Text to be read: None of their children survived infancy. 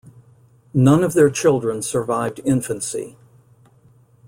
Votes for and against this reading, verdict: 2, 0, accepted